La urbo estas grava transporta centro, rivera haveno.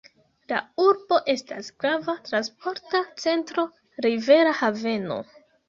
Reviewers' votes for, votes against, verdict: 2, 0, accepted